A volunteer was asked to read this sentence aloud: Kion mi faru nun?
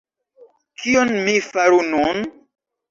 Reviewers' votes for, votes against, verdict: 2, 0, accepted